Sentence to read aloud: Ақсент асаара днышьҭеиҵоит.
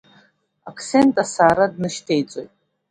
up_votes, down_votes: 1, 2